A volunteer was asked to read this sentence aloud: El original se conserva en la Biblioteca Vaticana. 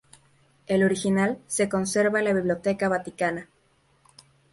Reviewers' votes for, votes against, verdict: 2, 2, rejected